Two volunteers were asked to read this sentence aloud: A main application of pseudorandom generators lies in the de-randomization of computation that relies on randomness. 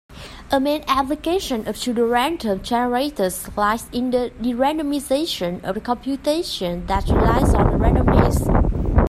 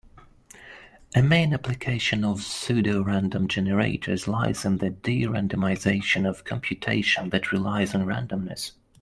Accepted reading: second